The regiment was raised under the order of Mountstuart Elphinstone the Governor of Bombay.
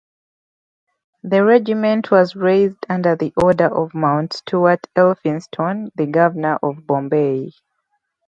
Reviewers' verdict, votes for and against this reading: rejected, 0, 2